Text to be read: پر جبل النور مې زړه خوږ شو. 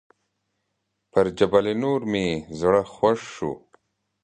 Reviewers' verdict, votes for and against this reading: accepted, 2, 0